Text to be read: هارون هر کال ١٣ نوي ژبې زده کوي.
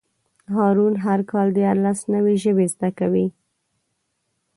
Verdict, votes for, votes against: rejected, 0, 2